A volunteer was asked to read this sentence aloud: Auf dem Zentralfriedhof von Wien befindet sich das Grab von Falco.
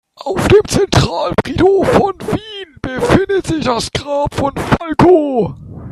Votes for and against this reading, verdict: 1, 3, rejected